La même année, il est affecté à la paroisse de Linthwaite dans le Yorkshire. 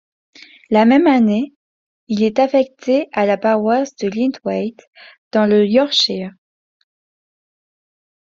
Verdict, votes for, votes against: rejected, 0, 2